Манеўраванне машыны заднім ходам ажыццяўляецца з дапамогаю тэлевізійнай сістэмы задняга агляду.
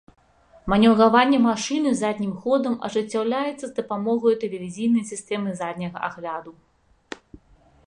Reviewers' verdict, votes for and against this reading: accepted, 2, 0